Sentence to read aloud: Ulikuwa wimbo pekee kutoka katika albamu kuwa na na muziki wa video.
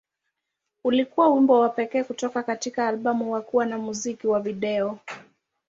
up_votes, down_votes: 1, 2